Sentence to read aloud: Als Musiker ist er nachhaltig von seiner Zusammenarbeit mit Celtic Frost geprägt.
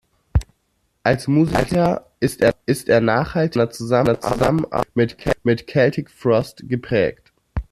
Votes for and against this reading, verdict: 1, 2, rejected